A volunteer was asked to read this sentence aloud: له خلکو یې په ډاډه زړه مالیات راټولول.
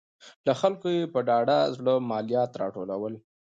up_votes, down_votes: 2, 0